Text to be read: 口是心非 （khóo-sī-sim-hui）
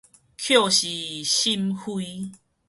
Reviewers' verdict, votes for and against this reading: rejected, 2, 2